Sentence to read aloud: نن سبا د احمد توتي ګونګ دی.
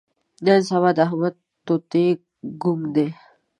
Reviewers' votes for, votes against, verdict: 2, 1, accepted